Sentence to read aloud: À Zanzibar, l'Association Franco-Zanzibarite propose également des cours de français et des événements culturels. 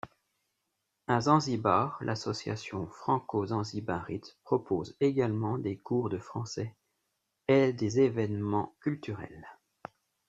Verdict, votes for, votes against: rejected, 0, 2